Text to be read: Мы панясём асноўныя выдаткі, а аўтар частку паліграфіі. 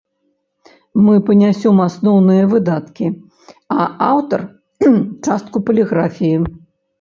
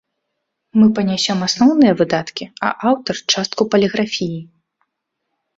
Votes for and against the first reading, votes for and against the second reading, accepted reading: 0, 2, 2, 0, second